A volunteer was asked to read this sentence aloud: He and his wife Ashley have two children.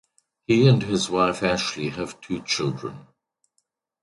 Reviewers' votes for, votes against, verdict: 2, 0, accepted